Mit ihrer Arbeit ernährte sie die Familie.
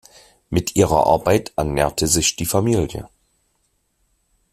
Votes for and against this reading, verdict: 0, 2, rejected